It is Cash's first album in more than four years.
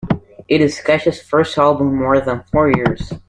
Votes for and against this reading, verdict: 2, 0, accepted